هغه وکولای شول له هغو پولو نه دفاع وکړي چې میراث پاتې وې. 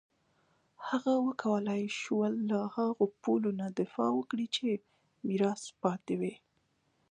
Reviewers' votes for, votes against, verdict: 2, 1, accepted